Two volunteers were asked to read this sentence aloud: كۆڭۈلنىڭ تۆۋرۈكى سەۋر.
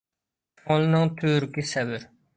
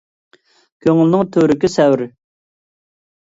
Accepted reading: second